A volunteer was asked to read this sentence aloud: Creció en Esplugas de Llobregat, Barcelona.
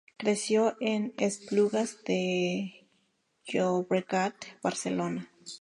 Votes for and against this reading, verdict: 4, 0, accepted